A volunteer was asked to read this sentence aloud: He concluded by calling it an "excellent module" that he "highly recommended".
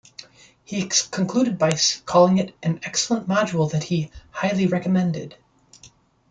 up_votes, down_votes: 2, 1